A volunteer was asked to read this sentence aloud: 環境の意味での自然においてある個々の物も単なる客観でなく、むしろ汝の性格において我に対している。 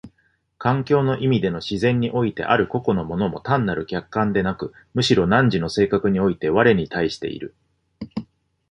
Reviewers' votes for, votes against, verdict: 2, 0, accepted